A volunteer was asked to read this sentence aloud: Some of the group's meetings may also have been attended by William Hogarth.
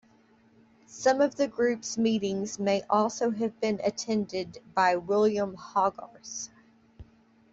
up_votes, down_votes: 2, 0